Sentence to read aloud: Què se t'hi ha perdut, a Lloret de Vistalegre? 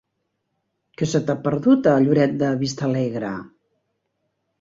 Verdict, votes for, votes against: rejected, 0, 2